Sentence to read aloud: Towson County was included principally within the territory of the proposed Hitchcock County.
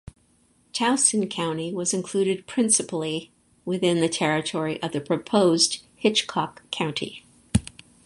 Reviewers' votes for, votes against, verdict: 4, 0, accepted